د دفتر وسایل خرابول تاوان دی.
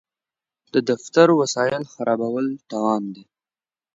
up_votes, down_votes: 2, 0